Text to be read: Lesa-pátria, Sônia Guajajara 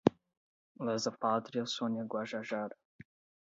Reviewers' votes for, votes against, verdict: 8, 0, accepted